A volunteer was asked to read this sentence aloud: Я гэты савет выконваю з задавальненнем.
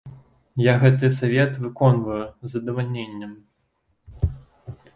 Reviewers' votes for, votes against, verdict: 2, 0, accepted